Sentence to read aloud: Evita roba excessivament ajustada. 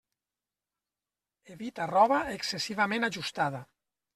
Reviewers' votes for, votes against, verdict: 3, 0, accepted